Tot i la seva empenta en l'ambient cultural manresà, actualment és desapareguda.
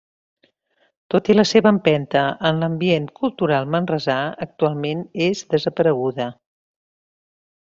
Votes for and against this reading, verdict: 3, 0, accepted